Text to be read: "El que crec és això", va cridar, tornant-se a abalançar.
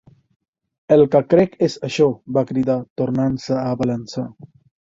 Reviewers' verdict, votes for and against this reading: rejected, 1, 2